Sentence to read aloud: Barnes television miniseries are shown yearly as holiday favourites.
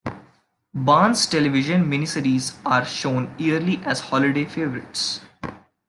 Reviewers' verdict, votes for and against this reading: accepted, 2, 0